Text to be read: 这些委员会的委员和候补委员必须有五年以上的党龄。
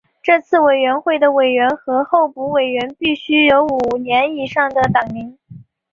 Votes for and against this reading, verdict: 3, 0, accepted